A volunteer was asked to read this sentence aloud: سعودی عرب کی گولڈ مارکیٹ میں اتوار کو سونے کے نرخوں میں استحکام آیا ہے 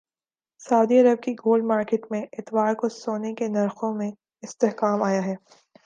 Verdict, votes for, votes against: accepted, 2, 0